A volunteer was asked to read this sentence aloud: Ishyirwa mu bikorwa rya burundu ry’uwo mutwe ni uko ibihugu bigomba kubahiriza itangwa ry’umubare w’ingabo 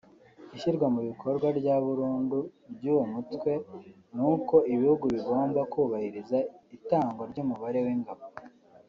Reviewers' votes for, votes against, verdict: 3, 1, accepted